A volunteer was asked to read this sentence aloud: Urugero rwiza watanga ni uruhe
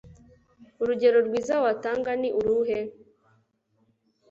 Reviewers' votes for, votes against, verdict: 2, 0, accepted